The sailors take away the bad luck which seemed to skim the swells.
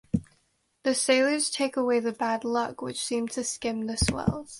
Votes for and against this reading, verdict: 2, 0, accepted